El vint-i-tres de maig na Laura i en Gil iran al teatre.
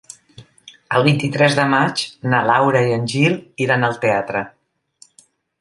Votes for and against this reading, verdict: 3, 0, accepted